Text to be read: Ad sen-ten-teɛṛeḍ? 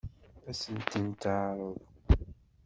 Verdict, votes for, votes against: rejected, 1, 2